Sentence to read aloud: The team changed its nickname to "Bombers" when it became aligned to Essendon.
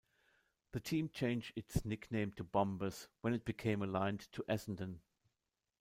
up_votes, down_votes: 0, 2